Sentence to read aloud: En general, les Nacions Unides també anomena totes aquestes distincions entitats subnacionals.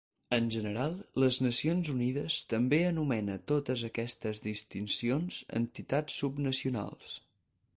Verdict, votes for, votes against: accepted, 4, 2